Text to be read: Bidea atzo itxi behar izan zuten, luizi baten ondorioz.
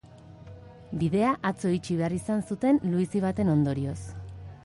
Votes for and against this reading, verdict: 1, 2, rejected